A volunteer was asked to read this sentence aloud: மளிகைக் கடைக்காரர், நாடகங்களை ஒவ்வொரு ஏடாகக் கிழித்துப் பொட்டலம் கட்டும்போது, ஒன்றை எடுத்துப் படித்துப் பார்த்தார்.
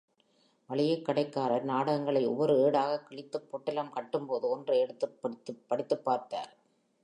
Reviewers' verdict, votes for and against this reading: accepted, 4, 1